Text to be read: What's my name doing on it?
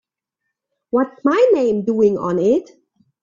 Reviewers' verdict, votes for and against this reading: accepted, 2, 0